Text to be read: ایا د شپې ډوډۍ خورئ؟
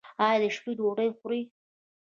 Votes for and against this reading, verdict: 0, 2, rejected